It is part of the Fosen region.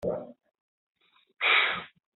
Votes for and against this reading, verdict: 0, 2, rejected